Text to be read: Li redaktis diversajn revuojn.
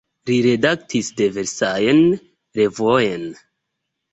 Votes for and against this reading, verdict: 1, 2, rejected